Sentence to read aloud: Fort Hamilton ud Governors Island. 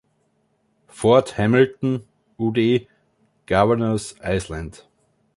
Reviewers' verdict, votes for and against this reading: rejected, 1, 2